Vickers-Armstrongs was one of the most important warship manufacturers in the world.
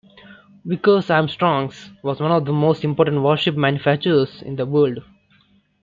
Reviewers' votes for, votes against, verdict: 2, 0, accepted